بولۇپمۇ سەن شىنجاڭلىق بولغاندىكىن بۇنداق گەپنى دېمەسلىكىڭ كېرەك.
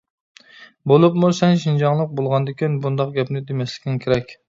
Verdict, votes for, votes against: accepted, 2, 0